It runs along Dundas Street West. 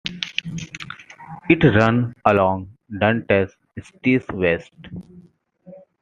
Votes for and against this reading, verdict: 0, 2, rejected